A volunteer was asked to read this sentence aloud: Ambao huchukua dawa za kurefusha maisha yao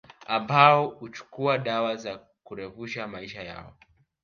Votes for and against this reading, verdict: 4, 0, accepted